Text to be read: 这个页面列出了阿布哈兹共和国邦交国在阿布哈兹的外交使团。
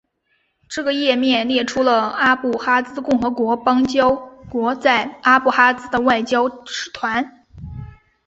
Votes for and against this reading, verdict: 7, 0, accepted